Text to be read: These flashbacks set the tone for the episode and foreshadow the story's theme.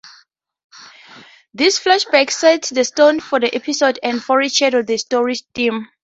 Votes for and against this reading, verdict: 0, 4, rejected